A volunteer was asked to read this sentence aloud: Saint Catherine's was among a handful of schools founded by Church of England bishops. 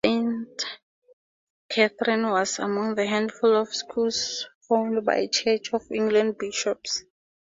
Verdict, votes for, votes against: accepted, 8, 4